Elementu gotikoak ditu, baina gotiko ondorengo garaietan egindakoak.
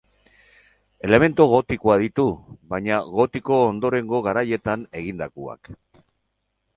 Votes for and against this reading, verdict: 2, 2, rejected